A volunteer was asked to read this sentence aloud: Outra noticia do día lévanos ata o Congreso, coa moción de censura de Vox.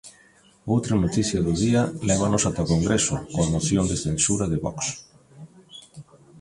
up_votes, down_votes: 2, 1